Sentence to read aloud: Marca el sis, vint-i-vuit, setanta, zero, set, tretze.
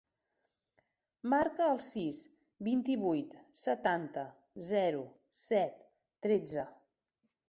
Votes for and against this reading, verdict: 3, 0, accepted